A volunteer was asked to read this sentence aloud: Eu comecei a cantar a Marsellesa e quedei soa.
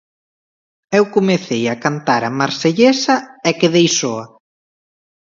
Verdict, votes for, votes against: accepted, 2, 0